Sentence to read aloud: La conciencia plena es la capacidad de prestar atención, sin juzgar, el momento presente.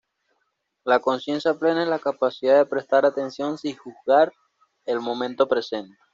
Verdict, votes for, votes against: rejected, 1, 2